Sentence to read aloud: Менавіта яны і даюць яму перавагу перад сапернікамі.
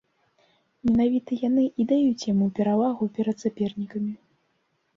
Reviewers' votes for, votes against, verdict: 2, 0, accepted